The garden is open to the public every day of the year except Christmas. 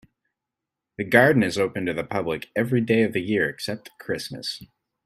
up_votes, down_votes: 2, 0